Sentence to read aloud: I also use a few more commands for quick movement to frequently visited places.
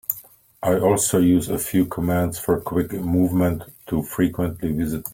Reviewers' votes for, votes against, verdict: 0, 3, rejected